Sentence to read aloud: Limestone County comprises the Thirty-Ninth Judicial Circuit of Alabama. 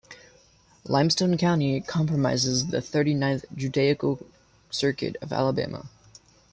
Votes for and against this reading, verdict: 0, 2, rejected